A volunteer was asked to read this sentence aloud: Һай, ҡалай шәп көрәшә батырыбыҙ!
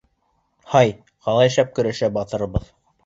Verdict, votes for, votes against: accepted, 2, 0